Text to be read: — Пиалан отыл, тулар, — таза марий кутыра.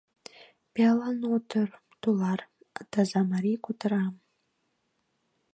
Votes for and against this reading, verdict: 0, 2, rejected